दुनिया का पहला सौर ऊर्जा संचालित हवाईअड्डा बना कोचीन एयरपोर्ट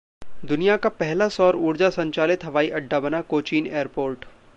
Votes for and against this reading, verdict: 2, 0, accepted